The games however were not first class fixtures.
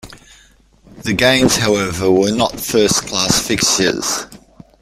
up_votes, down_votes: 1, 2